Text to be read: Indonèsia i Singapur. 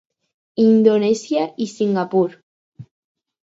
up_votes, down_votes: 2, 0